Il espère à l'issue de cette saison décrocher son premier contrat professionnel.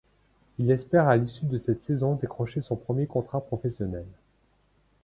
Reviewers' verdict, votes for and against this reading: accepted, 2, 1